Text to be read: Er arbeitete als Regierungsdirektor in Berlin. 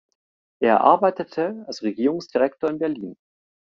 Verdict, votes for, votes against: accepted, 2, 0